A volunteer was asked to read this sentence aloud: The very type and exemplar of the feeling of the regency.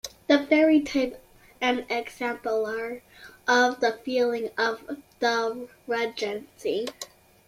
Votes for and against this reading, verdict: 2, 1, accepted